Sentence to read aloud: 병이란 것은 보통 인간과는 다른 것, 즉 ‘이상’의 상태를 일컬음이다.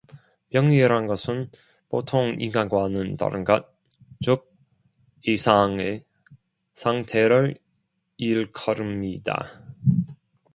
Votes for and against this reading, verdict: 2, 0, accepted